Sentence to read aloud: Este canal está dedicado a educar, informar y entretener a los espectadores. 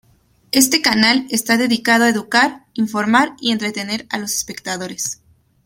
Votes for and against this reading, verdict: 2, 0, accepted